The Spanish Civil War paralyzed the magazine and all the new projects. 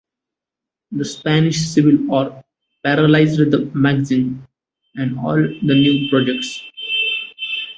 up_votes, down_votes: 2, 0